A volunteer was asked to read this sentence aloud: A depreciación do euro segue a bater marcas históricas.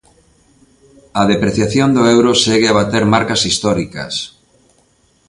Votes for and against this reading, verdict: 2, 0, accepted